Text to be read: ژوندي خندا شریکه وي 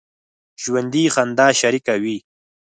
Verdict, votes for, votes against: accepted, 4, 0